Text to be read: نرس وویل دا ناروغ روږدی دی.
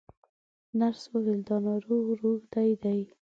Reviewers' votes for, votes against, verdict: 1, 2, rejected